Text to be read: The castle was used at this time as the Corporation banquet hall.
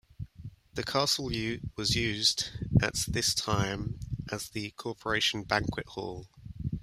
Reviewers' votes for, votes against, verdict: 1, 2, rejected